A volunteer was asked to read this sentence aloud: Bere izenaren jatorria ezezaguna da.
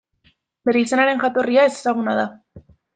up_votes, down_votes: 2, 0